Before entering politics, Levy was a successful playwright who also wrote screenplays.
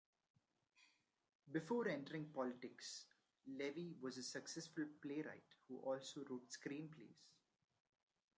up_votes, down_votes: 2, 0